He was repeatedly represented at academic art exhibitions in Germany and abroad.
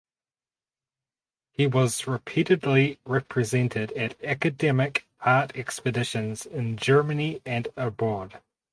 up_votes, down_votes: 0, 4